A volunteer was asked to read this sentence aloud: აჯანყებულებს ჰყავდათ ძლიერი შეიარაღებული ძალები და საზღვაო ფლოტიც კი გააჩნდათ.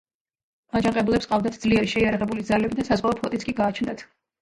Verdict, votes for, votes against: rejected, 0, 2